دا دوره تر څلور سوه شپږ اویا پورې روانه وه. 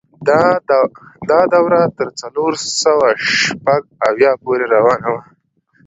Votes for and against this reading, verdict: 1, 2, rejected